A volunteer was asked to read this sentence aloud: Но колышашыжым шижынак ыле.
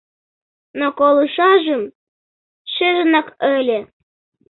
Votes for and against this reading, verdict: 0, 2, rejected